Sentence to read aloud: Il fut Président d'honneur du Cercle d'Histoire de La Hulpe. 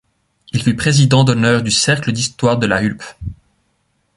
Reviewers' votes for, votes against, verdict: 2, 1, accepted